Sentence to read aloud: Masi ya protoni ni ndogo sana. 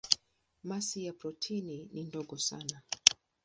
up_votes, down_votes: 0, 2